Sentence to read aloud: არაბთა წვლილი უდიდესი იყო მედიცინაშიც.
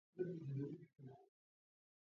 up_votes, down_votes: 2, 1